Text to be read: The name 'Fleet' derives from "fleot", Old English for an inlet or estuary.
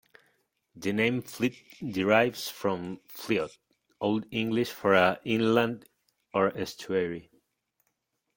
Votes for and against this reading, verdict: 0, 3, rejected